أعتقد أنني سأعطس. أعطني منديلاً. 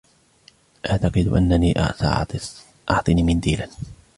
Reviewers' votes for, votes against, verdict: 1, 2, rejected